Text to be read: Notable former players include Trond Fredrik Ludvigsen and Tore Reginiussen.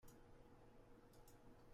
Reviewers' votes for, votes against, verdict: 0, 2, rejected